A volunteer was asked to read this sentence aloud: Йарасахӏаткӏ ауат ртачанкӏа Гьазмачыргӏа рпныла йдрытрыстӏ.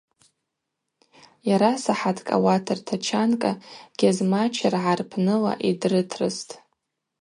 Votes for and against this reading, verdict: 4, 0, accepted